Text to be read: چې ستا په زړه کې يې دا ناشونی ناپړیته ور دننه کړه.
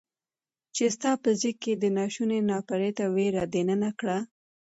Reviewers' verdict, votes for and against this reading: accepted, 2, 0